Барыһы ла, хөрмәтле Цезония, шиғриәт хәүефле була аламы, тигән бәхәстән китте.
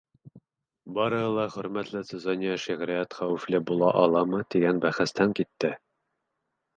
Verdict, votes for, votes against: accepted, 2, 0